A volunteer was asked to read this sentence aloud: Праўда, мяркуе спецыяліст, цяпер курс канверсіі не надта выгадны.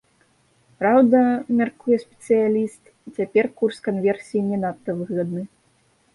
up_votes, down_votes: 1, 2